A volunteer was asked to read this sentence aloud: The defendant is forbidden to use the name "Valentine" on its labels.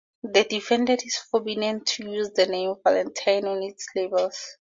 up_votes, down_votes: 0, 4